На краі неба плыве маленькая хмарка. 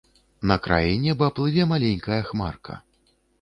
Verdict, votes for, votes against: accepted, 2, 0